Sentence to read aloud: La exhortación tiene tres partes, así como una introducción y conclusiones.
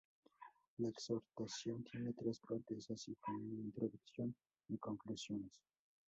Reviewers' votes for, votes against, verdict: 2, 2, rejected